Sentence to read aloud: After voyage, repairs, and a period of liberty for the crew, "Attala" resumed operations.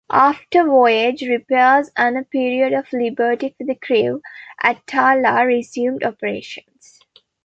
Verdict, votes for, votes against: accepted, 2, 0